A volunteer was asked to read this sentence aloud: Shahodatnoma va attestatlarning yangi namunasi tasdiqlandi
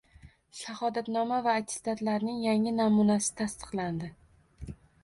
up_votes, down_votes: 2, 0